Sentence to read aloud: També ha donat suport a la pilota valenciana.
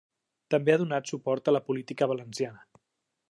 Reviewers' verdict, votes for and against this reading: rejected, 0, 2